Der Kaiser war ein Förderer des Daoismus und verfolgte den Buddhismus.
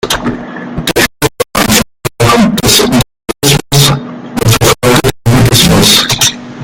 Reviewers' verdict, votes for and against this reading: rejected, 0, 2